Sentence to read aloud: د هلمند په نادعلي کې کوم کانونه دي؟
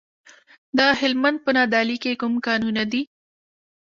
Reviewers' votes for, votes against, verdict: 2, 0, accepted